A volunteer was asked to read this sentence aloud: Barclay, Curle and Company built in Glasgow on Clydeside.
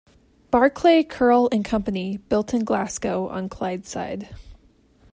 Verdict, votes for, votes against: accepted, 2, 1